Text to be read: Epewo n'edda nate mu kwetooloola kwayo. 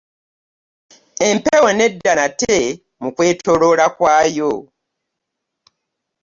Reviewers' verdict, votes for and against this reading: accepted, 2, 0